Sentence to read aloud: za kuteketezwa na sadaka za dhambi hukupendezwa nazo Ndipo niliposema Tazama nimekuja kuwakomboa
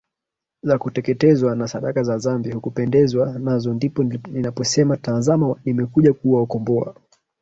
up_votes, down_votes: 0, 2